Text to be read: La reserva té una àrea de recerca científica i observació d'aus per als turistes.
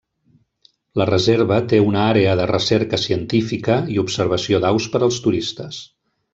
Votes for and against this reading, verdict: 3, 0, accepted